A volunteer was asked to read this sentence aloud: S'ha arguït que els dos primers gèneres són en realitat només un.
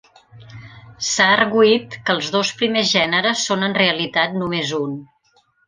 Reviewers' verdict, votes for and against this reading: accepted, 3, 0